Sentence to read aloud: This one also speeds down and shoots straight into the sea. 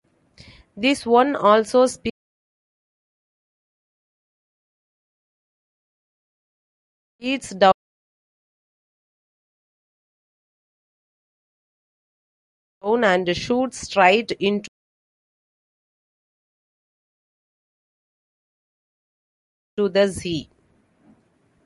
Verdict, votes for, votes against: rejected, 0, 2